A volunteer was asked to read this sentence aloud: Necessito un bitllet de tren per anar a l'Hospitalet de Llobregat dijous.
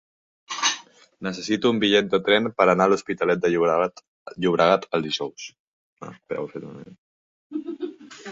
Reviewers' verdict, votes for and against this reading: rejected, 0, 2